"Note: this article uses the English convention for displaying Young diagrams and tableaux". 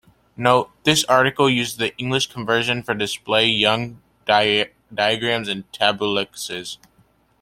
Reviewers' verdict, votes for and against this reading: rejected, 0, 2